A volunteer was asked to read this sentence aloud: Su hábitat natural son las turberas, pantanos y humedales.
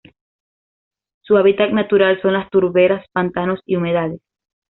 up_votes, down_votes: 2, 0